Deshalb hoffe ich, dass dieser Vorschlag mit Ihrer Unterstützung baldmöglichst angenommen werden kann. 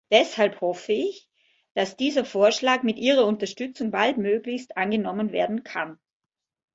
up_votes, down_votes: 2, 0